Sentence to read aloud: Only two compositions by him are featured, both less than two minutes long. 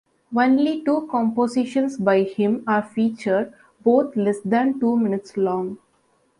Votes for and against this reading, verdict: 2, 0, accepted